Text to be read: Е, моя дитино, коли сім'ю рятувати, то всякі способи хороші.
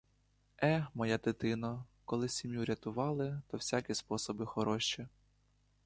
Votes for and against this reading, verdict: 1, 2, rejected